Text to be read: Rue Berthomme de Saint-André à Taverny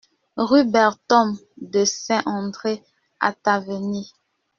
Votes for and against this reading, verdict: 1, 2, rejected